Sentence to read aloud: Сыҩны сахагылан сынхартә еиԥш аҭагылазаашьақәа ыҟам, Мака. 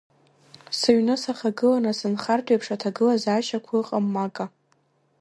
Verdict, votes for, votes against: rejected, 1, 2